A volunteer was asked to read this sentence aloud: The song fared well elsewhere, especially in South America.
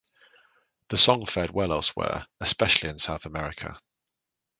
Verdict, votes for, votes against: accepted, 2, 0